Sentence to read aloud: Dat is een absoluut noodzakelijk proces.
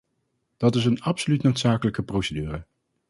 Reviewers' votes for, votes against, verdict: 0, 4, rejected